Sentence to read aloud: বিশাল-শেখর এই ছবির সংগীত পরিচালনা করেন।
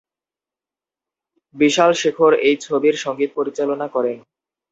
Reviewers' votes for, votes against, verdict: 0, 2, rejected